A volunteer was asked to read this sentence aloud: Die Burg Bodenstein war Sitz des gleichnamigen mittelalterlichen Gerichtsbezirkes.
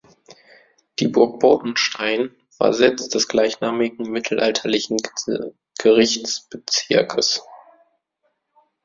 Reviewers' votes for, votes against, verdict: 0, 2, rejected